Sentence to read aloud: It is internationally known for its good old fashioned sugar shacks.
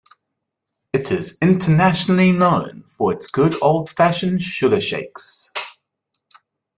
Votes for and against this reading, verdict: 0, 2, rejected